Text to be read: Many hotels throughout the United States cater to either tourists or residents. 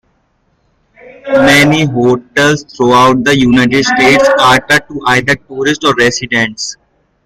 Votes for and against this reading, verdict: 1, 2, rejected